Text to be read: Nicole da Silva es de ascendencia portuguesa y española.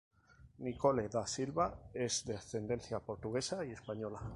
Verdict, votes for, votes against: rejected, 0, 2